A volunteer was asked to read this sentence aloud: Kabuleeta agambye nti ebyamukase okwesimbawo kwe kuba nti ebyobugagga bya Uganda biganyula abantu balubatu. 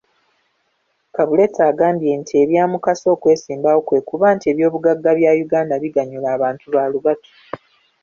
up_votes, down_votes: 2, 0